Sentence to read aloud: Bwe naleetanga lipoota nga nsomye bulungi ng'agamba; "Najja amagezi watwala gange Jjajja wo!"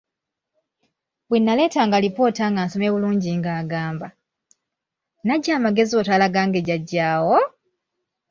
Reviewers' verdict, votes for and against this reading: rejected, 0, 2